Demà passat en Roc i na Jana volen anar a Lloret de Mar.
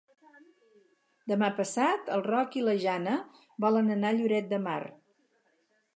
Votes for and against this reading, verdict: 0, 4, rejected